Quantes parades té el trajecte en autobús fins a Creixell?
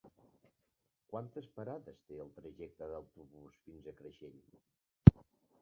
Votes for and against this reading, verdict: 0, 2, rejected